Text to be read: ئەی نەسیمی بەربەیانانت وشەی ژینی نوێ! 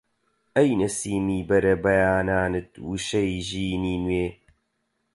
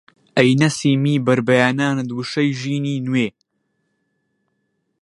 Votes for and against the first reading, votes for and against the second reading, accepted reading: 0, 4, 2, 0, second